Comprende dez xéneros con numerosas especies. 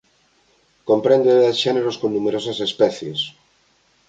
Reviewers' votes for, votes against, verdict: 2, 1, accepted